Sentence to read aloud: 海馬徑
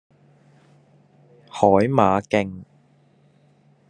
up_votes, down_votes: 2, 1